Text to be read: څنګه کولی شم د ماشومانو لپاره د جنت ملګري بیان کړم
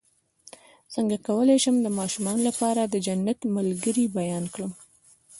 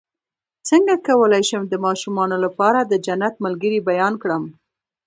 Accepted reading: first